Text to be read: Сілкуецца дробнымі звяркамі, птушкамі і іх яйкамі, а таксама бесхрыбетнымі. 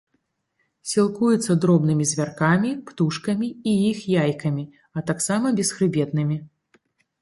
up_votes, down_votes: 2, 0